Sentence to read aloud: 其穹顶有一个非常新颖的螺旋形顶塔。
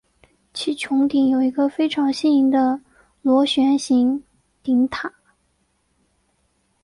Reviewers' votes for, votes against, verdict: 2, 0, accepted